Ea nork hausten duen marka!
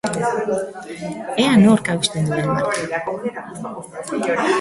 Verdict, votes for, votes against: rejected, 2, 2